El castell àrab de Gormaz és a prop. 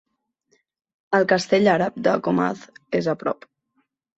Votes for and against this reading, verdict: 1, 2, rejected